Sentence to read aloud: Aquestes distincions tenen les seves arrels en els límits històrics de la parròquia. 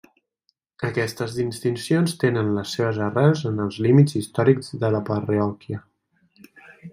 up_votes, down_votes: 0, 2